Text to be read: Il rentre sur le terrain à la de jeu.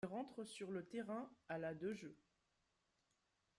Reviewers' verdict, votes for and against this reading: accepted, 2, 0